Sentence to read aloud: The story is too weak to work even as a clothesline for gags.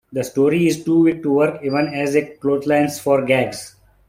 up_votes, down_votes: 2, 0